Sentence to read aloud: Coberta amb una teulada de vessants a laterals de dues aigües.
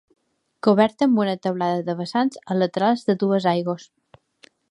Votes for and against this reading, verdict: 1, 2, rejected